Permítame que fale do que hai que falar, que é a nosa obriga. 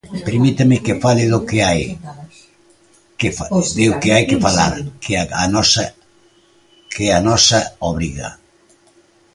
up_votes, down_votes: 0, 2